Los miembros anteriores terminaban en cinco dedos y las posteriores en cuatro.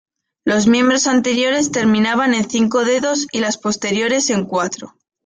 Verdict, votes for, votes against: accepted, 2, 0